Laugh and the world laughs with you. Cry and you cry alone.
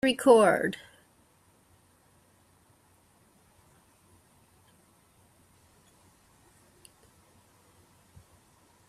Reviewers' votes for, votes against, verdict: 0, 2, rejected